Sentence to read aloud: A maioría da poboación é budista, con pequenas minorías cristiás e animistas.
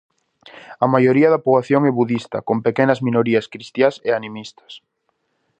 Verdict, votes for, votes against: accepted, 2, 0